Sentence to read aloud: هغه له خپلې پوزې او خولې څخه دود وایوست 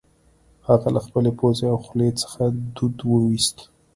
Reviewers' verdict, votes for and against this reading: accepted, 3, 0